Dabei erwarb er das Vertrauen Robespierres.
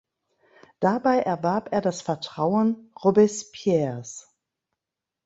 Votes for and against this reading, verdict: 2, 0, accepted